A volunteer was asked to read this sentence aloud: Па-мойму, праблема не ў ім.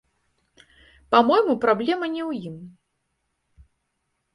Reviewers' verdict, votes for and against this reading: rejected, 1, 2